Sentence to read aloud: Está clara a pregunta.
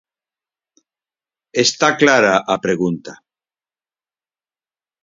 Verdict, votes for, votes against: accepted, 4, 0